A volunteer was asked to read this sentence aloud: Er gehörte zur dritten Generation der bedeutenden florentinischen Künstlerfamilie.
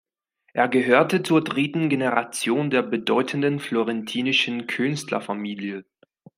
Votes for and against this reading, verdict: 2, 0, accepted